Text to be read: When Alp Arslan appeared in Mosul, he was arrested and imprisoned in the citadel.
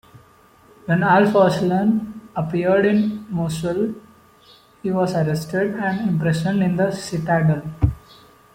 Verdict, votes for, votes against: rejected, 0, 2